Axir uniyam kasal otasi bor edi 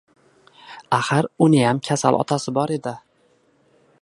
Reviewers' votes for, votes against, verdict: 2, 0, accepted